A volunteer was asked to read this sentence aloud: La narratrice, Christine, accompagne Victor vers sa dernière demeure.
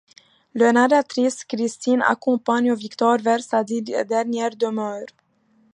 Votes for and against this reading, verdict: 0, 2, rejected